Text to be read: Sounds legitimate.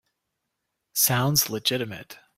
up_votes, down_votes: 2, 0